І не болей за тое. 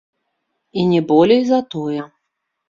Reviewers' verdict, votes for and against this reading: rejected, 0, 2